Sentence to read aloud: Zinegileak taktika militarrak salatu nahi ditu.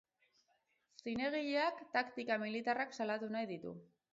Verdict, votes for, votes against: rejected, 0, 2